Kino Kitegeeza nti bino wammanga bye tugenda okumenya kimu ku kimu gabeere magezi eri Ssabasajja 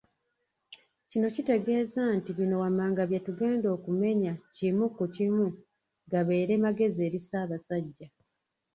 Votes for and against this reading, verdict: 2, 0, accepted